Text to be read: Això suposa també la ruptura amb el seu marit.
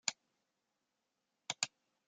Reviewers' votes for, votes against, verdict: 0, 2, rejected